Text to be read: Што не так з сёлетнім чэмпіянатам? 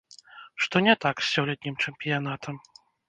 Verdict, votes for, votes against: accepted, 2, 0